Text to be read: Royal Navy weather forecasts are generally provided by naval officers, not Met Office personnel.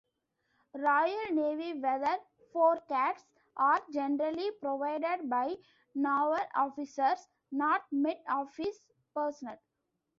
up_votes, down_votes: 0, 2